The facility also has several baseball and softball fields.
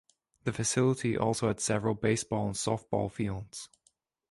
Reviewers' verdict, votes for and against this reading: rejected, 0, 2